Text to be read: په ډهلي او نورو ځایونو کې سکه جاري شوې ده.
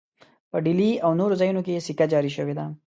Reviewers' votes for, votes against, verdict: 1, 2, rejected